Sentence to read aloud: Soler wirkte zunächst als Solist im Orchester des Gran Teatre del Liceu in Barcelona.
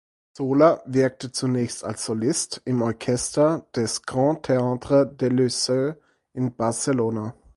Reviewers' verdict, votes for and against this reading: rejected, 2, 4